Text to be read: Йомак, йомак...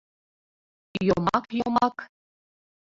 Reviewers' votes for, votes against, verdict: 1, 2, rejected